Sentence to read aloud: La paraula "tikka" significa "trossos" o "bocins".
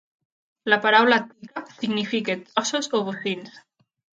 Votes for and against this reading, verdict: 0, 2, rejected